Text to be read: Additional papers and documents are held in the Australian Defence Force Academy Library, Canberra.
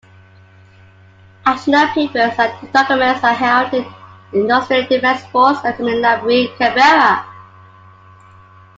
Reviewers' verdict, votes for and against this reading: rejected, 0, 2